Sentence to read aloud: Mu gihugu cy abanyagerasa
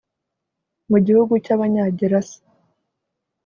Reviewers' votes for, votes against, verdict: 2, 0, accepted